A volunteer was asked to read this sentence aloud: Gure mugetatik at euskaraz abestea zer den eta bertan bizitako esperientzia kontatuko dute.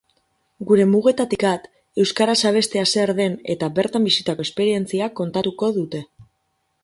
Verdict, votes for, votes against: rejected, 2, 2